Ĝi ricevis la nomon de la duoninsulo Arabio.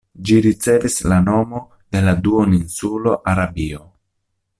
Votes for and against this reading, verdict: 1, 2, rejected